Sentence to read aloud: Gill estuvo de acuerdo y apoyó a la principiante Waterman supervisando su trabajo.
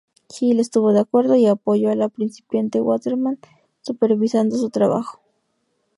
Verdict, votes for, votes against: accepted, 2, 0